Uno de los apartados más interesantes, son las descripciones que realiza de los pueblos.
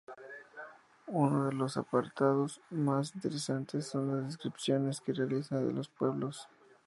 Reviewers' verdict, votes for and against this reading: accepted, 2, 0